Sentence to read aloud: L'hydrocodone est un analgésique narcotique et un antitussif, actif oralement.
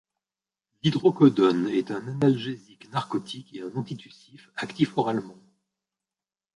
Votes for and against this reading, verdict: 1, 2, rejected